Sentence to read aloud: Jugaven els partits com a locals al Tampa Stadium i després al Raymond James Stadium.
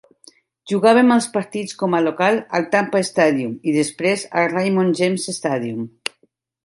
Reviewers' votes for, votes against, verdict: 0, 2, rejected